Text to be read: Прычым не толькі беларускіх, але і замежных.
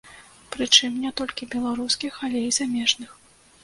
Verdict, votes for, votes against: accepted, 2, 0